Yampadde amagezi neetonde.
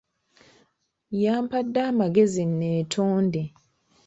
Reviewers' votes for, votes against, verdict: 2, 1, accepted